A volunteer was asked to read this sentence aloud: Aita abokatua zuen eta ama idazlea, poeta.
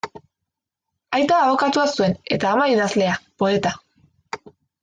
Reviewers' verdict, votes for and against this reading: accepted, 3, 0